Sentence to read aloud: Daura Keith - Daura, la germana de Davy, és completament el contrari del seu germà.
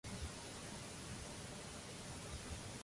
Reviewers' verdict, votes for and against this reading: rejected, 0, 2